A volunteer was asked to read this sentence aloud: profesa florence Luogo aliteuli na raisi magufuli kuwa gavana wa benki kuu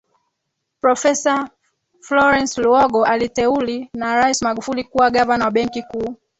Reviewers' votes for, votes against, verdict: 2, 4, rejected